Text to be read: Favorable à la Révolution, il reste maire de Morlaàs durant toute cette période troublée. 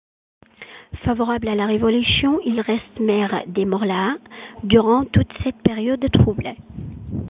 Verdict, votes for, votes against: accepted, 2, 0